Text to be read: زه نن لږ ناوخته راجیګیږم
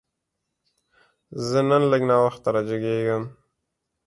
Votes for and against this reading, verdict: 2, 0, accepted